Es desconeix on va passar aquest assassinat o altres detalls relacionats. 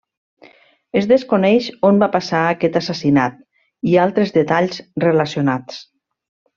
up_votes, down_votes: 1, 3